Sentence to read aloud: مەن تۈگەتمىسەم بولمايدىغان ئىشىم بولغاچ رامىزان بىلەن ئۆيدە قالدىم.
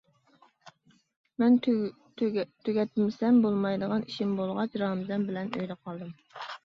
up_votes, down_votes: 0, 2